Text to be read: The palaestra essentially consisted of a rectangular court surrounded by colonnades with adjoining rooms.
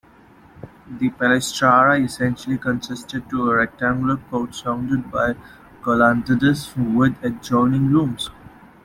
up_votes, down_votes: 2, 0